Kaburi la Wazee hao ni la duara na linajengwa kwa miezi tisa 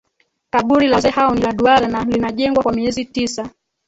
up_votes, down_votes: 1, 3